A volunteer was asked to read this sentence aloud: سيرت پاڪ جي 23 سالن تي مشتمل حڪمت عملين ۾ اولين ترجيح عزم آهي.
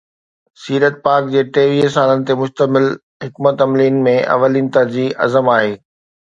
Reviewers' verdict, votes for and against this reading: rejected, 0, 2